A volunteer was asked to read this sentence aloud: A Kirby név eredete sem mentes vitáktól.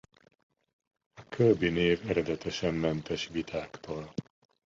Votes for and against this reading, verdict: 0, 2, rejected